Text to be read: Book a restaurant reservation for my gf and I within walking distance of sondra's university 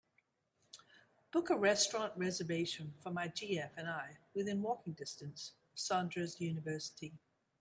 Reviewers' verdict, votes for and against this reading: accepted, 2, 0